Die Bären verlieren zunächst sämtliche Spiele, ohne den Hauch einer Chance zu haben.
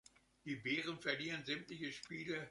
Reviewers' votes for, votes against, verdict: 0, 2, rejected